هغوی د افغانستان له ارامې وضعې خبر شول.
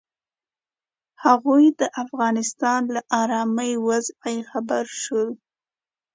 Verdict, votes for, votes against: accepted, 2, 0